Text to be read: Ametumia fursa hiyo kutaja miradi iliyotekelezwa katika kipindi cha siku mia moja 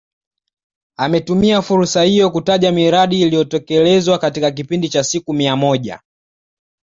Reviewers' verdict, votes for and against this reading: accepted, 2, 0